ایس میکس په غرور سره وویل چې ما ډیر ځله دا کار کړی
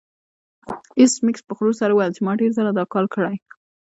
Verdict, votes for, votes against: rejected, 1, 2